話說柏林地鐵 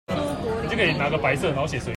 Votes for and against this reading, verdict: 0, 2, rejected